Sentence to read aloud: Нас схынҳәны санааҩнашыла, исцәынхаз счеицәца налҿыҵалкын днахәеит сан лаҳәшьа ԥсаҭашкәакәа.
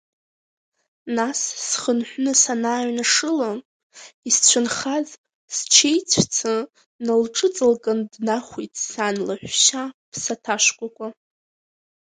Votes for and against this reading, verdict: 2, 1, accepted